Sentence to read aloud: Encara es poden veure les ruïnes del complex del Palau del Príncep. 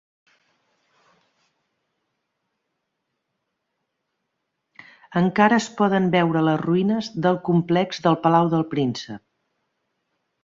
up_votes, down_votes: 3, 1